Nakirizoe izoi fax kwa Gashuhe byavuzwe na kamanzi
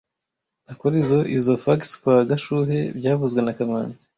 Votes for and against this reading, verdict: 1, 2, rejected